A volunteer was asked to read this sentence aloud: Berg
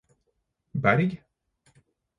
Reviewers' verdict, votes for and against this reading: accepted, 4, 0